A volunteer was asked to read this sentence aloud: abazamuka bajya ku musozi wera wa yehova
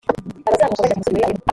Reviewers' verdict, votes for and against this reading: rejected, 1, 2